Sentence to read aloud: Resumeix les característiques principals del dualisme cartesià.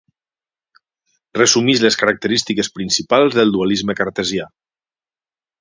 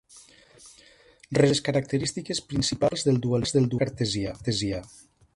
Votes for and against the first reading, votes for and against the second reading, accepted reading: 6, 0, 0, 2, first